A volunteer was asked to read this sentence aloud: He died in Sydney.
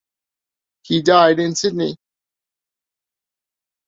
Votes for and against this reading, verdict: 2, 0, accepted